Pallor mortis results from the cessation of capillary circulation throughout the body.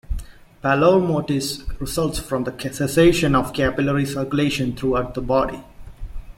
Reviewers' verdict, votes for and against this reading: rejected, 0, 2